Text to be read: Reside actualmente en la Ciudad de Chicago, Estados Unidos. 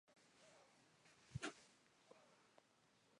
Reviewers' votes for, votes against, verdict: 0, 2, rejected